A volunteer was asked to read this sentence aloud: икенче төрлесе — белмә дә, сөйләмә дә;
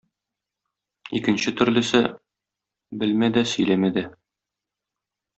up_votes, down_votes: 2, 0